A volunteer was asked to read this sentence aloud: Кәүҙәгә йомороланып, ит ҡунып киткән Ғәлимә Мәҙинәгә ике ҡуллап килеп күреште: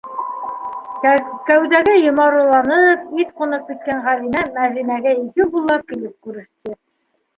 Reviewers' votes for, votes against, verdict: 0, 2, rejected